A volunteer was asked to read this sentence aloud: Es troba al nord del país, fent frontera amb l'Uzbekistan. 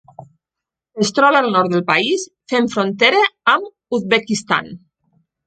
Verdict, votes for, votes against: rejected, 1, 2